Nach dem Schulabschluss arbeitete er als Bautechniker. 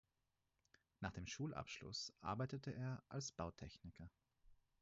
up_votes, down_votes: 2, 4